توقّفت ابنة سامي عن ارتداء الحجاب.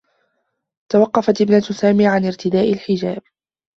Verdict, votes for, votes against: accepted, 2, 0